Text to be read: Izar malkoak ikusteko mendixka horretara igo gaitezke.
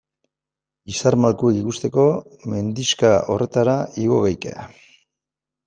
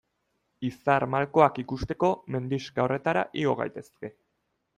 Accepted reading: second